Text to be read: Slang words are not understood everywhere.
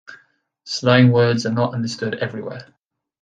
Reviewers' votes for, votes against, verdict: 2, 0, accepted